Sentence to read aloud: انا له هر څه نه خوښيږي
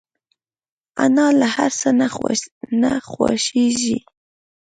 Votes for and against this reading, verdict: 2, 0, accepted